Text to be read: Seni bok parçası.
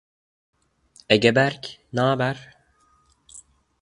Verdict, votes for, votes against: rejected, 0, 2